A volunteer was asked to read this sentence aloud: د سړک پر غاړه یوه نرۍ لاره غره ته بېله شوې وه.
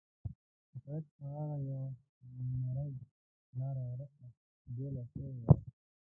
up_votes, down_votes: 0, 3